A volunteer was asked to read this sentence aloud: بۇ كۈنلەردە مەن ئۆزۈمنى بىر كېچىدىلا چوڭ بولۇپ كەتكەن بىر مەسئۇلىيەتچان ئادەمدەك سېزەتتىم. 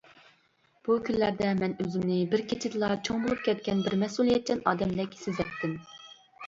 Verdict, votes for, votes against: accepted, 2, 0